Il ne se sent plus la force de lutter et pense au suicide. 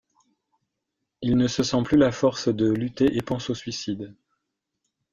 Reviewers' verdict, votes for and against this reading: accepted, 2, 0